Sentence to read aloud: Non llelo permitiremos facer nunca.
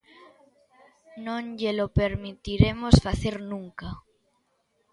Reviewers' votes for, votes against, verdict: 2, 1, accepted